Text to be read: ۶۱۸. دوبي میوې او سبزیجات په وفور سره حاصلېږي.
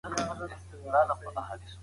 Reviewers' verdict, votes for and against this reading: rejected, 0, 2